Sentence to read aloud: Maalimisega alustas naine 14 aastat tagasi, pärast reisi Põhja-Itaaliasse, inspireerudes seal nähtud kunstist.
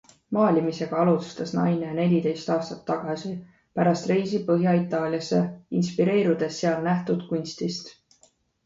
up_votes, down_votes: 0, 2